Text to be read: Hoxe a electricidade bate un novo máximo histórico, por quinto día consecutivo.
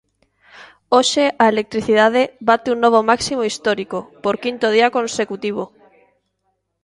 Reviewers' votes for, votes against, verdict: 0, 2, rejected